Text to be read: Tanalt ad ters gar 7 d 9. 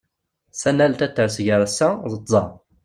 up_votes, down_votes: 0, 2